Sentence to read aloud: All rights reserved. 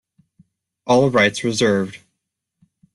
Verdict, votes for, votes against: accepted, 2, 0